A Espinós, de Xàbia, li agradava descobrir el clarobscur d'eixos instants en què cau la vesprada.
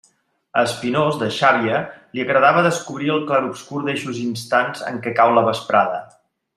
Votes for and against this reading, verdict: 1, 2, rejected